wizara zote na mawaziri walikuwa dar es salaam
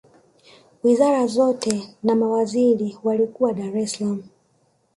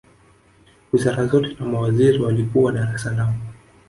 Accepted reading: first